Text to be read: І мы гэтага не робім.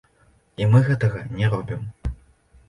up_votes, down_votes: 2, 0